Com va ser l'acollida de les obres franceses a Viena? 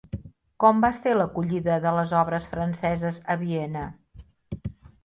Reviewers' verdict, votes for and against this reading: accepted, 3, 0